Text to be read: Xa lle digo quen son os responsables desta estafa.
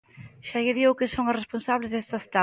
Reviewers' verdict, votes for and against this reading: rejected, 0, 2